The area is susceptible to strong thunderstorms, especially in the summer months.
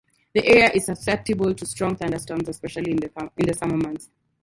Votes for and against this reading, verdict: 2, 4, rejected